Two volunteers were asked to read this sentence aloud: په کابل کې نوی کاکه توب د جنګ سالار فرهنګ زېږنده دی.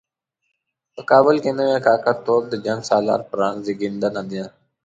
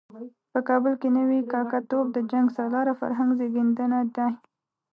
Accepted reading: first